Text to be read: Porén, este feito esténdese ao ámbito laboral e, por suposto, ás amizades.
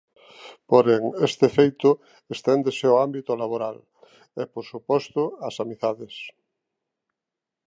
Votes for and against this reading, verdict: 1, 2, rejected